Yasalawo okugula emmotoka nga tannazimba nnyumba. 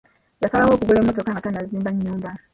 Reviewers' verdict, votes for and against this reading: rejected, 0, 2